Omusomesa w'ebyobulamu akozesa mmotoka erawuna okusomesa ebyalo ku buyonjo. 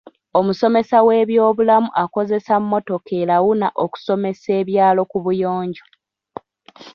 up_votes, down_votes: 0, 2